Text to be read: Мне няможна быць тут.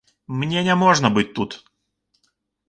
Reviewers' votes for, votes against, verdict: 2, 0, accepted